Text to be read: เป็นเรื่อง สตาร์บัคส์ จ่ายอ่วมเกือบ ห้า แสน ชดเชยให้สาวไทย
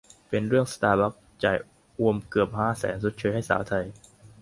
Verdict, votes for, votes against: accepted, 2, 0